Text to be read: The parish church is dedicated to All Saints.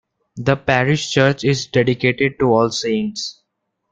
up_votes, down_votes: 2, 0